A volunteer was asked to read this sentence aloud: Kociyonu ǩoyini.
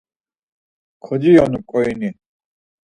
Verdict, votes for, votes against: accepted, 4, 0